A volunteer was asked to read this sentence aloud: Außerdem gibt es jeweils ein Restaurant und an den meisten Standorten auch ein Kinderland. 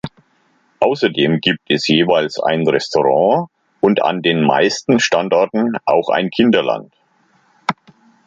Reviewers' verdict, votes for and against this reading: rejected, 1, 2